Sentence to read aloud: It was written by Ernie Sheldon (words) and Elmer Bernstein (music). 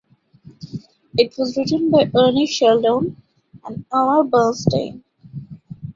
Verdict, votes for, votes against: rejected, 0, 2